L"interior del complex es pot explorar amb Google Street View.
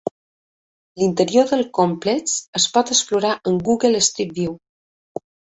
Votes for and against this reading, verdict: 2, 0, accepted